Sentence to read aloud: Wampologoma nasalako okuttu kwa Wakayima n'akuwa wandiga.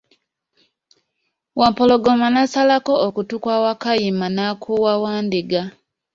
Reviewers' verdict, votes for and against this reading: rejected, 0, 2